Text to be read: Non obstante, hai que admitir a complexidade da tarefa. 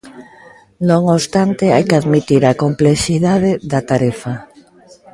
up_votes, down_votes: 0, 2